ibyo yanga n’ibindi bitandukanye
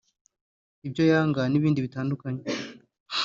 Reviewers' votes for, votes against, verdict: 5, 1, accepted